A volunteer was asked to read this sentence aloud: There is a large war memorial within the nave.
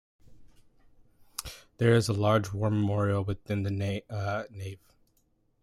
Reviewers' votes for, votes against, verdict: 1, 2, rejected